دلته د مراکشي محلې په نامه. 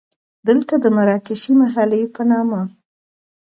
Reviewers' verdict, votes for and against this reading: accepted, 2, 0